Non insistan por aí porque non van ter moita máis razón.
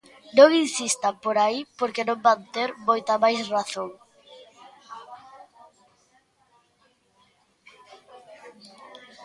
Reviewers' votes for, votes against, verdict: 1, 2, rejected